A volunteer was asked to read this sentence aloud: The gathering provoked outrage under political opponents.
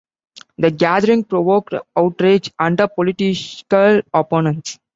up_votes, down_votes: 0, 2